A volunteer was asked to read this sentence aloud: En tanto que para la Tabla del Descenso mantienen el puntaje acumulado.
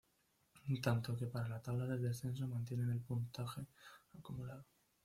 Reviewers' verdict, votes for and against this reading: rejected, 1, 2